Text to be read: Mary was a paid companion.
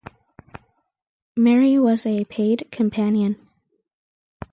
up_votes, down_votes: 4, 0